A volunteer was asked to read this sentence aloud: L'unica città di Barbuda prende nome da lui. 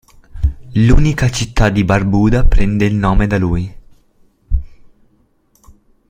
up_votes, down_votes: 2, 0